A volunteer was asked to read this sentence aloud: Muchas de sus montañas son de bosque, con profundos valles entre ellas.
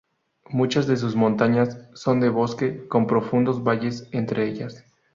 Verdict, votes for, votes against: accepted, 4, 0